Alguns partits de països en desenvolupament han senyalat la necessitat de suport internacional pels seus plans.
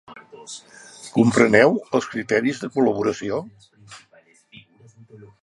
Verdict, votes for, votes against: rejected, 0, 2